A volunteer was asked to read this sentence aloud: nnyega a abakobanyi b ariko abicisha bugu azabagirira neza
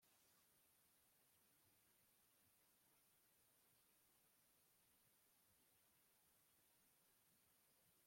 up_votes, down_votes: 0, 2